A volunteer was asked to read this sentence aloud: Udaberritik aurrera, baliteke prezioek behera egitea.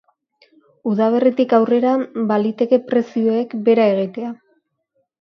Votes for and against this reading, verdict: 2, 0, accepted